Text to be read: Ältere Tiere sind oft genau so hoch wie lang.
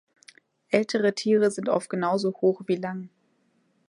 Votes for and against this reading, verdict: 3, 0, accepted